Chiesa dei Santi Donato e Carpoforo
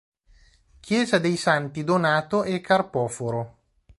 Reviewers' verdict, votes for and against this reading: accepted, 2, 0